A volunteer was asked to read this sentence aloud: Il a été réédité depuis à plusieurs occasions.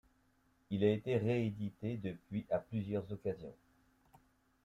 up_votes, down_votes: 1, 2